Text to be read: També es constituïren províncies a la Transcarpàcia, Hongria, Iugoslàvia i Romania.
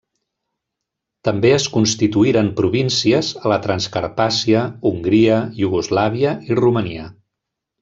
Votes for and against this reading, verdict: 3, 0, accepted